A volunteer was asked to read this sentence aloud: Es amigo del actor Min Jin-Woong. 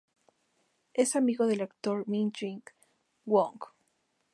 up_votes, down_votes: 2, 2